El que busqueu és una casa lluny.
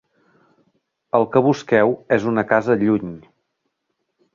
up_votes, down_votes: 3, 0